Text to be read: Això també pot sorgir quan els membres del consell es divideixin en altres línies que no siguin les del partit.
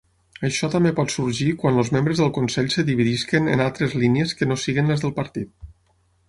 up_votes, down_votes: 0, 6